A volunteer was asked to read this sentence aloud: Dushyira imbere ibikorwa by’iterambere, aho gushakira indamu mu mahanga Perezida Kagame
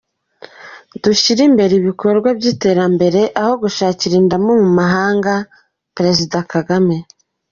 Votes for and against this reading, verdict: 3, 0, accepted